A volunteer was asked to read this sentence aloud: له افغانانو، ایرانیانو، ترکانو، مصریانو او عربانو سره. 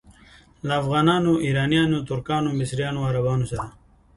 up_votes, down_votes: 2, 0